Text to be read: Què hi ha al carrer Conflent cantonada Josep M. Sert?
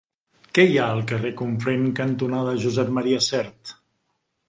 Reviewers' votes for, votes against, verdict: 0, 2, rejected